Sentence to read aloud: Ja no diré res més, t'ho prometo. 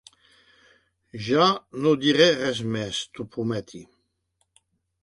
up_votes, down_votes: 2, 3